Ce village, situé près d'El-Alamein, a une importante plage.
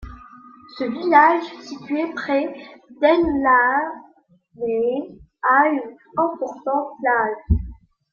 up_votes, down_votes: 0, 2